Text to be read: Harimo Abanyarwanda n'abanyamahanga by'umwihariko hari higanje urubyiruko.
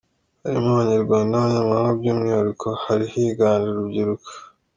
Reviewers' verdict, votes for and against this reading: rejected, 1, 2